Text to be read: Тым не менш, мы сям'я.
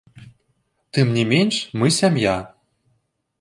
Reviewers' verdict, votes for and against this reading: rejected, 1, 2